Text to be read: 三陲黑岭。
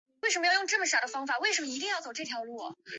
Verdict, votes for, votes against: rejected, 0, 4